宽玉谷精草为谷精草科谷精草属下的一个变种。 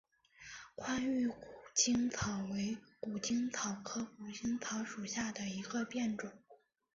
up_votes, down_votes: 0, 2